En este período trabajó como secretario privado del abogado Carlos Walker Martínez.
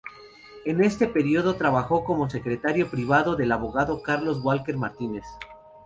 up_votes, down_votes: 2, 0